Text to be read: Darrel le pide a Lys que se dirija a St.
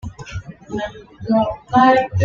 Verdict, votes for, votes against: rejected, 1, 2